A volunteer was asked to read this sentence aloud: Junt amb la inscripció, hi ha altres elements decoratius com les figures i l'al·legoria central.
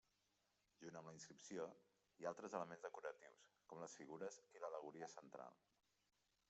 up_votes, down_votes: 1, 2